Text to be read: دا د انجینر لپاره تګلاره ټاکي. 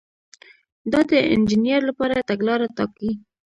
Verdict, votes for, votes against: accepted, 2, 0